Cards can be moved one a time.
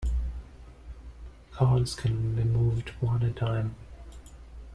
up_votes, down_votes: 1, 2